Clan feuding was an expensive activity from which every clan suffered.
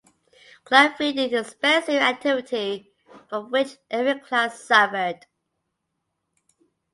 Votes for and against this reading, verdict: 0, 2, rejected